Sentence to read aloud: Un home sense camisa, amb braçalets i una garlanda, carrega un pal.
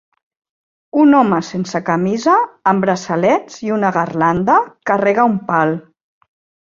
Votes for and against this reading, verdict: 6, 0, accepted